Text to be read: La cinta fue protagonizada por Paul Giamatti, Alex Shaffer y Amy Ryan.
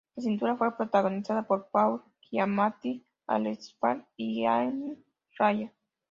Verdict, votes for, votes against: rejected, 0, 2